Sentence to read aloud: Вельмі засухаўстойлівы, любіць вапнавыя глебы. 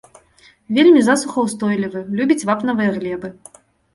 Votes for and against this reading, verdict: 2, 0, accepted